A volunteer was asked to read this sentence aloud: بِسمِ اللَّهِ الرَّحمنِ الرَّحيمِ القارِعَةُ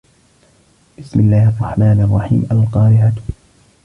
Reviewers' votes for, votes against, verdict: 1, 2, rejected